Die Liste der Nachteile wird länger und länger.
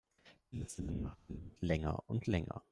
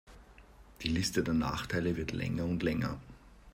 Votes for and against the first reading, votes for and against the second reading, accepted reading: 1, 2, 3, 1, second